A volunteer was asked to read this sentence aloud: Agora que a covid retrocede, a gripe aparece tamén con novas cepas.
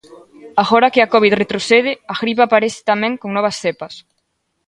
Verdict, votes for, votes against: accepted, 2, 0